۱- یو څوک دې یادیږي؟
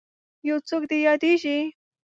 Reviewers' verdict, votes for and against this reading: rejected, 0, 2